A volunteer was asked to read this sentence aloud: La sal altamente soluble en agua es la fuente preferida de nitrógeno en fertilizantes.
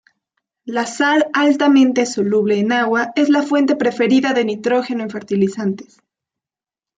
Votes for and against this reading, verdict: 2, 0, accepted